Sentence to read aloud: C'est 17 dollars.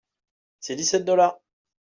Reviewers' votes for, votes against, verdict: 0, 2, rejected